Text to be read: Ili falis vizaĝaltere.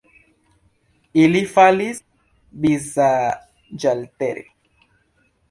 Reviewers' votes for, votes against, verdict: 1, 2, rejected